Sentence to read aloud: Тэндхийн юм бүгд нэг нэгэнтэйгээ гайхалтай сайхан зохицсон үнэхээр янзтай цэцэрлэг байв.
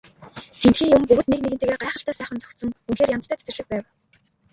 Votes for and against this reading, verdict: 1, 2, rejected